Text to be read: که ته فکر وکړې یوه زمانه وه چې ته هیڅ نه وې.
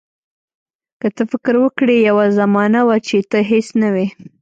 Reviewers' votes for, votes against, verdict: 2, 0, accepted